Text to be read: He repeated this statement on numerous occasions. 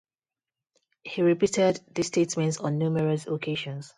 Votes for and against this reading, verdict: 0, 2, rejected